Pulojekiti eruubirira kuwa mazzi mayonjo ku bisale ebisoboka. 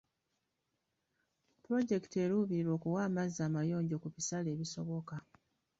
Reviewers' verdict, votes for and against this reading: rejected, 1, 2